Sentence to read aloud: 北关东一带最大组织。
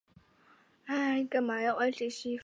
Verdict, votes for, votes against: accepted, 2, 0